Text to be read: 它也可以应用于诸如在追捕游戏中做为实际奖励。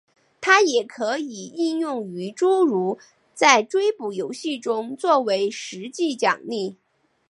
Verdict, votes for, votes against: accepted, 2, 0